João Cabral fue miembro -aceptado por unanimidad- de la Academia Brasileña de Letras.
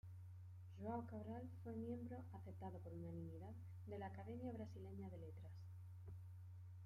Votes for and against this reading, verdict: 2, 0, accepted